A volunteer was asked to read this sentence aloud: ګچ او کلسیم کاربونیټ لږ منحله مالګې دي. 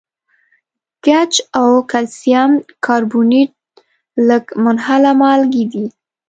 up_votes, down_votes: 2, 0